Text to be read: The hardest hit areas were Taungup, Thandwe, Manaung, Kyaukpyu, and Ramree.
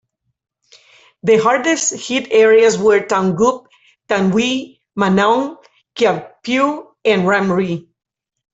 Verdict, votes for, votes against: accepted, 2, 1